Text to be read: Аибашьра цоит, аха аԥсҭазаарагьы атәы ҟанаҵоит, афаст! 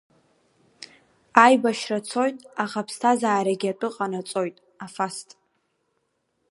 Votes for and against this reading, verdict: 5, 0, accepted